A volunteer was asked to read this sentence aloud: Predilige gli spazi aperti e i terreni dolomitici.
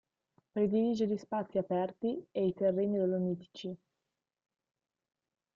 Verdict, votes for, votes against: accepted, 2, 0